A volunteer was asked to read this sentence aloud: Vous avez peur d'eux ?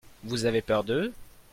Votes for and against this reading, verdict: 2, 0, accepted